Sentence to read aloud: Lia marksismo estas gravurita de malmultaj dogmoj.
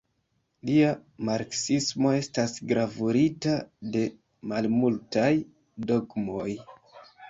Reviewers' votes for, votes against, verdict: 1, 2, rejected